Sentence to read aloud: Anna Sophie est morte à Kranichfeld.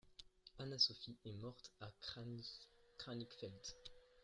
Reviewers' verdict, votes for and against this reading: rejected, 0, 2